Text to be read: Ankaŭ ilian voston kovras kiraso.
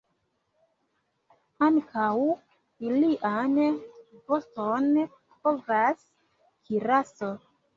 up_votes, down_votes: 0, 2